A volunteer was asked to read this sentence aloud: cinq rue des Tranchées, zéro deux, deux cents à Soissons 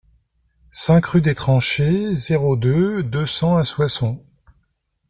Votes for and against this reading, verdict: 2, 0, accepted